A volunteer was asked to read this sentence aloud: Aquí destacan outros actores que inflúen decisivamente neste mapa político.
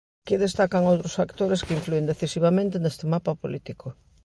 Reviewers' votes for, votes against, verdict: 1, 2, rejected